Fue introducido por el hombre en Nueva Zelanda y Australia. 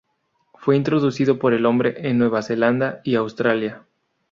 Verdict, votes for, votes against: accepted, 2, 0